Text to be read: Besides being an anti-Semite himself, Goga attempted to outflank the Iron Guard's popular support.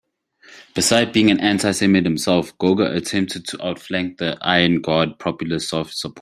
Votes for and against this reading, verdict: 0, 2, rejected